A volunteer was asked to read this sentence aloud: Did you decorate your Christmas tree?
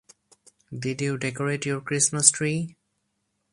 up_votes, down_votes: 2, 0